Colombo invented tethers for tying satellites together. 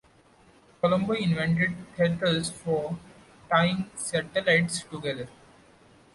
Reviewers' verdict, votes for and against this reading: accepted, 2, 0